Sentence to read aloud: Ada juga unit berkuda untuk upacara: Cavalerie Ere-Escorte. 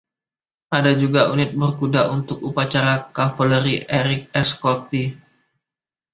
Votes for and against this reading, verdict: 2, 0, accepted